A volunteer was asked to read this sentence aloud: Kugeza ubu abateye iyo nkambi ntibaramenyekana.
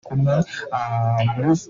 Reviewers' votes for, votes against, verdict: 0, 2, rejected